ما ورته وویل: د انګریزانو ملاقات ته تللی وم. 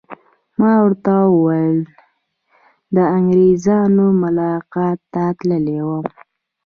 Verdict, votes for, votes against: accepted, 3, 1